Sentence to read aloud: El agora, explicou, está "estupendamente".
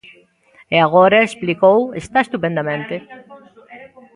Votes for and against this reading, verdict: 1, 2, rejected